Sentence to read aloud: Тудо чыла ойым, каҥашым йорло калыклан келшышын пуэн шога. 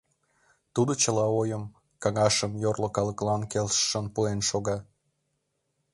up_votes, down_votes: 2, 1